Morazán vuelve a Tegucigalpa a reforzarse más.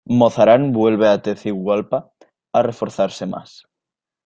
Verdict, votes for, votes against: rejected, 0, 2